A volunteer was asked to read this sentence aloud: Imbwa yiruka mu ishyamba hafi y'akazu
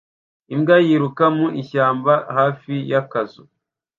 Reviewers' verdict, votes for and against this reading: accepted, 2, 0